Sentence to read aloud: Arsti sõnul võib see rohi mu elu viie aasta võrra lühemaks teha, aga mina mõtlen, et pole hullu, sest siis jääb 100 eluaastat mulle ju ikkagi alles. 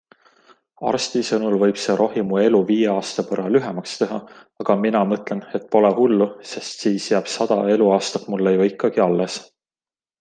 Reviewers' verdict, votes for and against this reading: rejected, 0, 2